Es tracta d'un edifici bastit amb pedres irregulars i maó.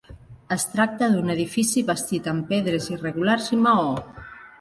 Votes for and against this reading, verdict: 2, 0, accepted